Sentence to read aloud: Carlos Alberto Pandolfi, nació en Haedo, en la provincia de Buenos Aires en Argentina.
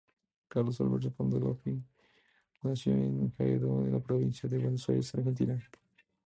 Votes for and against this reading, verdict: 0, 2, rejected